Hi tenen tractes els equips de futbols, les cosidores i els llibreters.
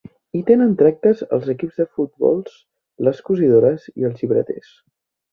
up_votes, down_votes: 3, 0